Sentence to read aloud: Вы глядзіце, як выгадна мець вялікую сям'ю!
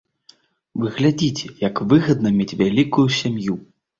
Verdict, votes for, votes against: accepted, 2, 0